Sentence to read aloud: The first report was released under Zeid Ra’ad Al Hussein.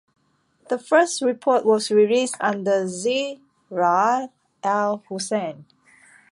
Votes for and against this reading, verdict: 1, 2, rejected